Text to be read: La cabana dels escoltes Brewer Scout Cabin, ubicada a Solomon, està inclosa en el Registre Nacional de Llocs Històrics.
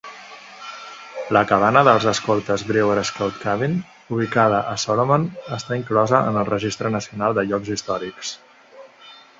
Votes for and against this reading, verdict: 2, 0, accepted